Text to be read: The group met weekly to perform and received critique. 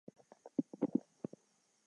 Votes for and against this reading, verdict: 0, 2, rejected